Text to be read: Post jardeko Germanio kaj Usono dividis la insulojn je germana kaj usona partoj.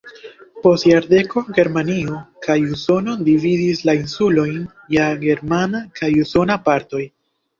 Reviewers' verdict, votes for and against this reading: rejected, 1, 2